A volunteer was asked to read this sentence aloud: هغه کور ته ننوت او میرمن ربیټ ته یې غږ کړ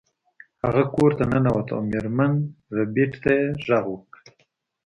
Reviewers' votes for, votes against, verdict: 2, 0, accepted